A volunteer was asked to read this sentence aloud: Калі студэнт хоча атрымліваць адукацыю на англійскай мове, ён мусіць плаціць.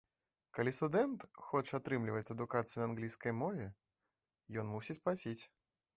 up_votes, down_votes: 2, 1